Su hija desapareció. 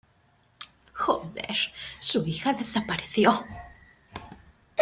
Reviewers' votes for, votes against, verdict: 0, 2, rejected